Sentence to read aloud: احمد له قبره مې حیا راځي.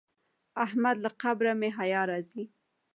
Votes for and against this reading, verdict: 2, 1, accepted